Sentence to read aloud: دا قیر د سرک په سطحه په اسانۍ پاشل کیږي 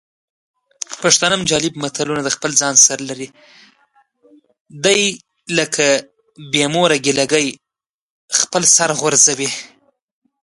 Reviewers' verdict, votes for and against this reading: rejected, 0, 2